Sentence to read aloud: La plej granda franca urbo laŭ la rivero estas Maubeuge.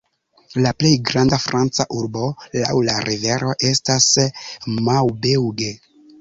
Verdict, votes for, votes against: rejected, 0, 2